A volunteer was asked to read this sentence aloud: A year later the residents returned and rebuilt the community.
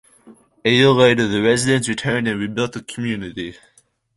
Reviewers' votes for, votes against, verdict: 2, 0, accepted